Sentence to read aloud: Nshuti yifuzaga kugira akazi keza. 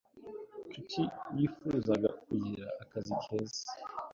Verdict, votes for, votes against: accepted, 2, 0